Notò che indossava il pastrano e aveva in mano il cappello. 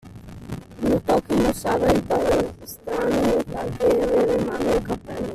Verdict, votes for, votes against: rejected, 0, 2